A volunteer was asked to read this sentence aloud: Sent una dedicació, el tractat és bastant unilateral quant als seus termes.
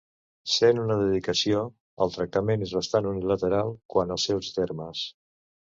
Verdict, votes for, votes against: rejected, 1, 2